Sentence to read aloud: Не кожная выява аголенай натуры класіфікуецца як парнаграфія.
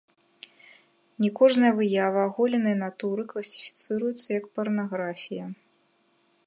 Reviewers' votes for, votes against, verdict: 1, 2, rejected